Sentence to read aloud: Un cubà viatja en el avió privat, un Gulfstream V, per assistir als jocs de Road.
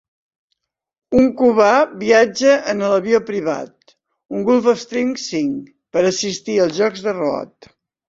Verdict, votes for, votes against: accepted, 2, 1